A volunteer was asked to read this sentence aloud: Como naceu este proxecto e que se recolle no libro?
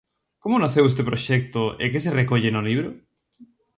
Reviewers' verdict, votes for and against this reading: accepted, 2, 0